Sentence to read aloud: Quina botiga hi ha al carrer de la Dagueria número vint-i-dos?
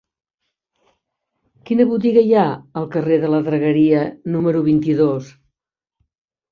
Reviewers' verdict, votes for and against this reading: accepted, 2, 0